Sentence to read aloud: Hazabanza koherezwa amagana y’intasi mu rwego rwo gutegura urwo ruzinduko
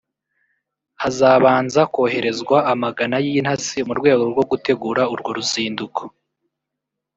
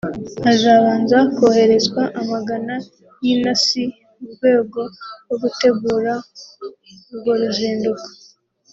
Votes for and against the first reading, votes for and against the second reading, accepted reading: 1, 2, 2, 1, second